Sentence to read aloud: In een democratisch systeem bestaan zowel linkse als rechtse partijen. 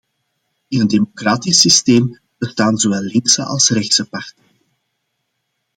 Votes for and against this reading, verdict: 1, 2, rejected